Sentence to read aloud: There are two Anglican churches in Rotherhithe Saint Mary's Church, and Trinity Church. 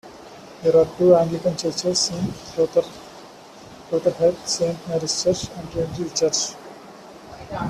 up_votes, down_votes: 1, 2